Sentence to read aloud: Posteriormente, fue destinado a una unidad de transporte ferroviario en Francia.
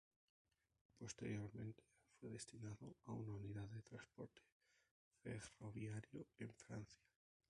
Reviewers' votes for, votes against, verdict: 0, 2, rejected